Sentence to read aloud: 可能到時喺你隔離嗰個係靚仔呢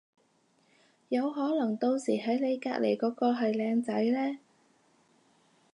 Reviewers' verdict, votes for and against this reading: rejected, 0, 4